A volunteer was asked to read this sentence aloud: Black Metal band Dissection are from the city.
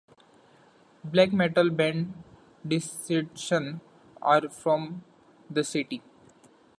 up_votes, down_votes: 1, 3